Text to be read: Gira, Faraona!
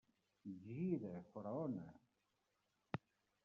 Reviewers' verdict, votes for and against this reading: rejected, 0, 2